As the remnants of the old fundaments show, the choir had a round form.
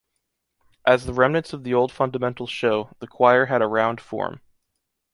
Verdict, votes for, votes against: rejected, 1, 2